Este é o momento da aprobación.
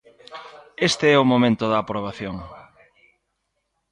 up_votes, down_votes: 1, 2